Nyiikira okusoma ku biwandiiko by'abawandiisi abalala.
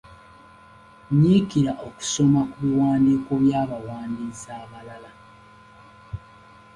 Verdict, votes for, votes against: accepted, 3, 0